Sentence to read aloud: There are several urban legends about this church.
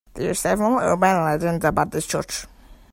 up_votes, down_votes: 2, 0